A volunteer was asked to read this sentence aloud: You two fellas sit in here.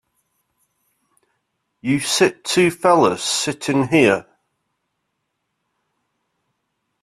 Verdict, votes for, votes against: rejected, 0, 2